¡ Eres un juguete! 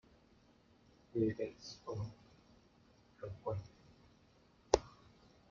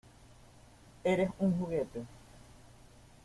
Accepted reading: second